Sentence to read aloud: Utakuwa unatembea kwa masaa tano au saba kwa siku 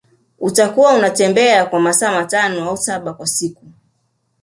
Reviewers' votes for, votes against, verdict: 2, 1, accepted